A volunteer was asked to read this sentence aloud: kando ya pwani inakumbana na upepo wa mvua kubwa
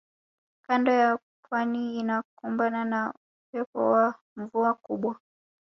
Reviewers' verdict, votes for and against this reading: rejected, 1, 2